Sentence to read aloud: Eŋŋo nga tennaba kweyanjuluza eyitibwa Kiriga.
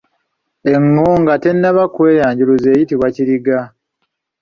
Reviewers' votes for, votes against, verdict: 2, 1, accepted